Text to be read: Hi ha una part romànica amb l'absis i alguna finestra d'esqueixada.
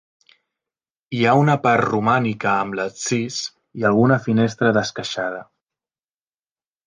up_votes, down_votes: 0, 2